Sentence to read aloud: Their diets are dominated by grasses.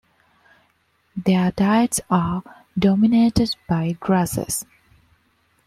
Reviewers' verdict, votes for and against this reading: accepted, 2, 0